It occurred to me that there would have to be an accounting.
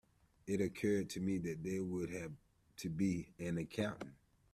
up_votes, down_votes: 2, 1